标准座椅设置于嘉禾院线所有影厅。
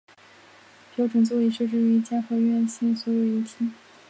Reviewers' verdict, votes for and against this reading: rejected, 2, 3